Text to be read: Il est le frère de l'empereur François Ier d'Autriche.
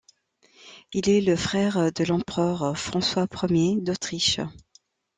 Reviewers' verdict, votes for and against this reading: accepted, 2, 0